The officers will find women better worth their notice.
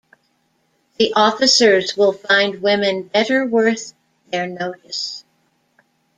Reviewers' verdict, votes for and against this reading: accepted, 2, 0